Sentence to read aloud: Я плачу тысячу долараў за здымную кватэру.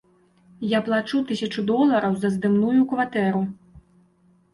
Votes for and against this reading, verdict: 0, 2, rejected